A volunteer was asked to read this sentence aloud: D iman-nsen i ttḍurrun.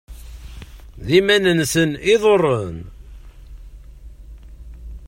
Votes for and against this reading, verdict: 0, 3, rejected